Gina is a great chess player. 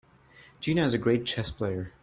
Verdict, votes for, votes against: accepted, 2, 0